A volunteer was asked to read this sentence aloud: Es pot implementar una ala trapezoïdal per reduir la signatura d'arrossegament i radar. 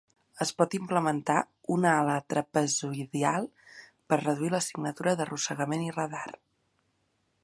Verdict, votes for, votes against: rejected, 0, 3